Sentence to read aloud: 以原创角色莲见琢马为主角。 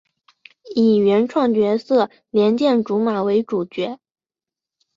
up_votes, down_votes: 2, 0